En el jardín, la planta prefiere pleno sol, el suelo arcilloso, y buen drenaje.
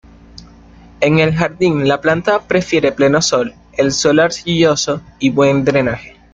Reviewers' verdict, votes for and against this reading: accepted, 2, 0